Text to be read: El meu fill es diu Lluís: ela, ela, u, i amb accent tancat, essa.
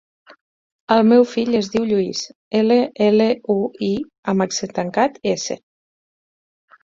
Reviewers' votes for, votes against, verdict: 0, 4, rejected